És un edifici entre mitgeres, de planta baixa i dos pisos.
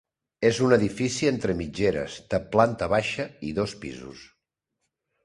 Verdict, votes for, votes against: accepted, 2, 0